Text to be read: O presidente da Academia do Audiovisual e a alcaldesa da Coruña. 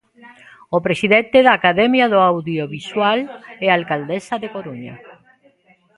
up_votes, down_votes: 0, 2